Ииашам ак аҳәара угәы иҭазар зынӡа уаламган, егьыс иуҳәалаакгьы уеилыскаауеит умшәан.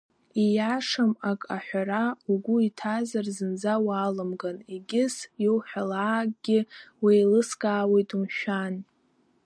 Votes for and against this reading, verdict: 0, 2, rejected